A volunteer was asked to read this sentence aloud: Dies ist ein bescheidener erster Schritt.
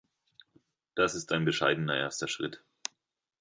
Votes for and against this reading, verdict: 0, 2, rejected